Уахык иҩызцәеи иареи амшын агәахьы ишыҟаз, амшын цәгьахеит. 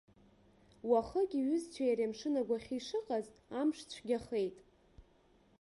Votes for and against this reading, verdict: 0, 2, rejected